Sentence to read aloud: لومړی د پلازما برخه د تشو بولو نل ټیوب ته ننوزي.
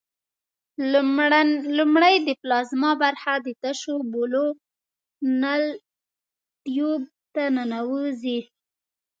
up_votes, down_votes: 2, 1